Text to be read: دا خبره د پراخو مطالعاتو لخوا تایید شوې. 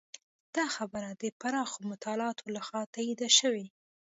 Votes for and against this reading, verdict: 2, 0, accepted